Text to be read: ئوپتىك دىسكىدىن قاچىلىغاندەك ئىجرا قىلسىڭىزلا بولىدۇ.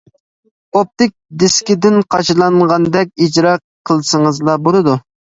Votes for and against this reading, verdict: 1, 2, rejected